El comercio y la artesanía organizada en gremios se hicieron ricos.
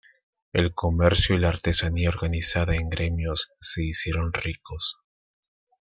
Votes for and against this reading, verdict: 1, 2, rejected